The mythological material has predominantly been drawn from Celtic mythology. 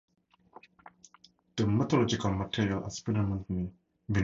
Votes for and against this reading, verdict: 0, 4, rejected